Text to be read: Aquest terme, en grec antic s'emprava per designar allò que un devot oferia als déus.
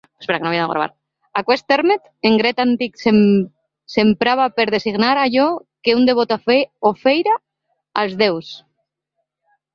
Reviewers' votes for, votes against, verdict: 0, 2, rejected